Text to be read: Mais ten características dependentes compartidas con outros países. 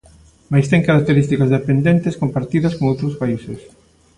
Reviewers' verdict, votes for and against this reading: accepted, 2, 0